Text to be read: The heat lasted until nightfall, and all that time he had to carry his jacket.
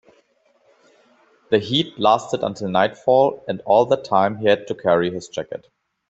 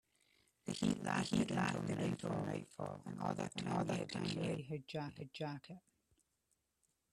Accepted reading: first